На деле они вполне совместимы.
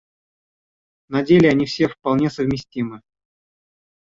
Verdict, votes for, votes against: rejected, 1, 2